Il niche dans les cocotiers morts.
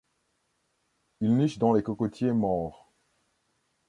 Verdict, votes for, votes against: accepted, 2, 0